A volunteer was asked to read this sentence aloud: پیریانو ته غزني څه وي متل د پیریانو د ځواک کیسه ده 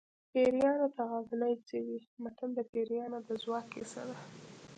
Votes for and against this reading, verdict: 2, 0, accepted